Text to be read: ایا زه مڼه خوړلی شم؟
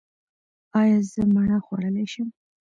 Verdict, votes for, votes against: accepted, 2, 0